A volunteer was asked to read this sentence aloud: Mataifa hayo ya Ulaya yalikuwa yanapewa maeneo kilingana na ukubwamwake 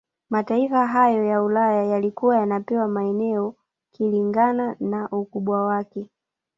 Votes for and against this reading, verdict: 0, 2, rejected